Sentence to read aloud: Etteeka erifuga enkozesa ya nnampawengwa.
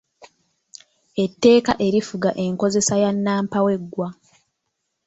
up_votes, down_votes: 1, 2